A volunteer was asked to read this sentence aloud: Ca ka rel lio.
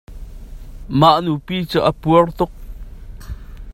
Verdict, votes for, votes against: rejected, 0, 2